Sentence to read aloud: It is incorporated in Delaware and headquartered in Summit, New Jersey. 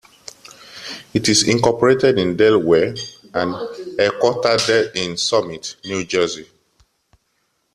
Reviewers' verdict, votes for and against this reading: rejected, 0, 2